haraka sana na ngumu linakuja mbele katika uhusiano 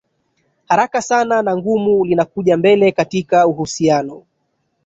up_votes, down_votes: 1, 2